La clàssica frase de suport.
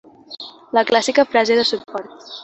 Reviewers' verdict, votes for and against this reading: rejected, 1, 2